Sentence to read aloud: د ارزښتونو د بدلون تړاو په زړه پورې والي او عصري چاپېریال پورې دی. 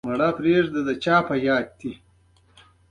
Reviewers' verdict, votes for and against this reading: accepted, 2, 0